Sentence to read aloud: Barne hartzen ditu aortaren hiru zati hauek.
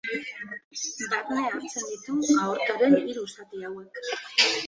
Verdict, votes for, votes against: accepted, 2, 1